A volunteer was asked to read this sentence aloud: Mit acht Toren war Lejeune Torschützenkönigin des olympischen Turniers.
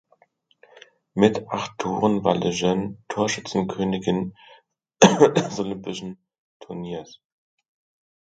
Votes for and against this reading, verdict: 1, 2, rejected